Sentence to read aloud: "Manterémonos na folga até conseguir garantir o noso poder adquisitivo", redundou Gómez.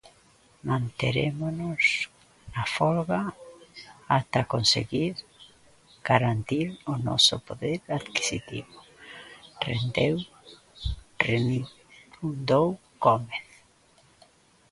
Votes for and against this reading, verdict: 0, 2, rejected